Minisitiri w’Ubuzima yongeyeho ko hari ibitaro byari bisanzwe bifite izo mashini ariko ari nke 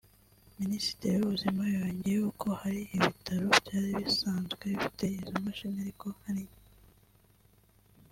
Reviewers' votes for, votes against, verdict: 2, 0, accepted